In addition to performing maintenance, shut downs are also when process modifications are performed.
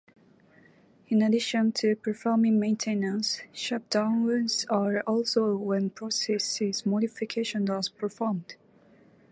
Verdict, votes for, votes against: rejected, 0, 4